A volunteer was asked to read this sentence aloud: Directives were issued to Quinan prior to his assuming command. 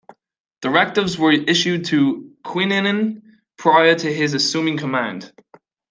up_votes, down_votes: 0, 2